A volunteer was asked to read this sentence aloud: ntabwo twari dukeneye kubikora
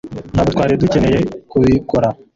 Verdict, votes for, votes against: rejected, 0, 2